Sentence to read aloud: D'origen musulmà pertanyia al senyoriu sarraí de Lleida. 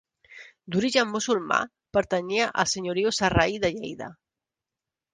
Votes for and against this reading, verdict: 2, 0, accepted